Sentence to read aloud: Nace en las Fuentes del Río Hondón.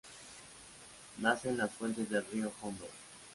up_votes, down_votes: 0, 2